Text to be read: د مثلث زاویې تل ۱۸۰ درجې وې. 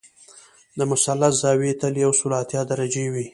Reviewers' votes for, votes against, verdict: 0, 2, rejected